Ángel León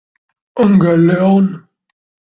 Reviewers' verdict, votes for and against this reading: rejected, 1, 2